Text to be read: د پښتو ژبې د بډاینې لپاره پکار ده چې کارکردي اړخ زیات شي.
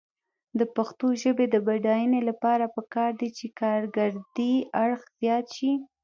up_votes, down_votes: 0, 2